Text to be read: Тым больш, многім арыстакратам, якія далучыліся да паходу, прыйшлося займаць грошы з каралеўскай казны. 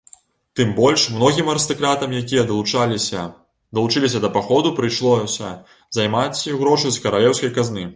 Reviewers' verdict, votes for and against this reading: rejected, 0, 2